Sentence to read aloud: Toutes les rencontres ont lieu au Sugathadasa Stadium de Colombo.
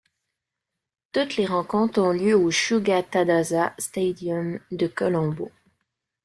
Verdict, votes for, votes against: accepted, 2, 0